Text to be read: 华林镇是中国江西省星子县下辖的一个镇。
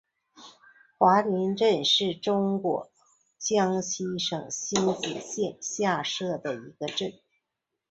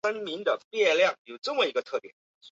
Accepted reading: first